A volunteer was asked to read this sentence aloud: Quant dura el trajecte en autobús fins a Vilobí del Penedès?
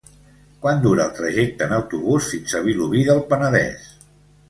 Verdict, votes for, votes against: rejected, 1, 2